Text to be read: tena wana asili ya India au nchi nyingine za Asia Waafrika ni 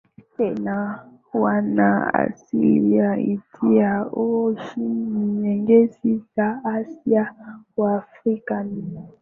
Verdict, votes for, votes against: accepted, 6, 3